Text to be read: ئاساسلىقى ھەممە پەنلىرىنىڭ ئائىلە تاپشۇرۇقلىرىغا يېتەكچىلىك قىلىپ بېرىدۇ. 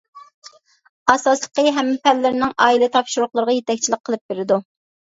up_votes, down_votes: 2, 0